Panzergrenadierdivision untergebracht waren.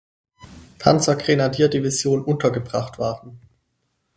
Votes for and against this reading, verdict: 4, 0, accepted